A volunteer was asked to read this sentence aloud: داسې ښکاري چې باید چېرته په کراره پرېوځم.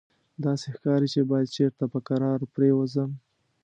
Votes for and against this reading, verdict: 2, 0, accepted